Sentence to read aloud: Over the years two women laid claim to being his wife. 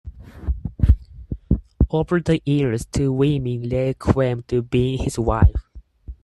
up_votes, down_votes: 0, 4